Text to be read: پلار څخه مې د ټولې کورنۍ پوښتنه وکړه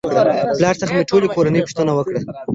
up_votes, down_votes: 1, 2